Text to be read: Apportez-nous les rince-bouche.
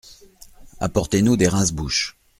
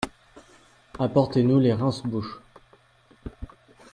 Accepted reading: second